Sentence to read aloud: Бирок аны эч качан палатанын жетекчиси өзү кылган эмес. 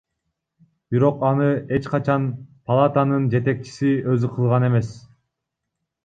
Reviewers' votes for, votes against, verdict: 2, 0, accepted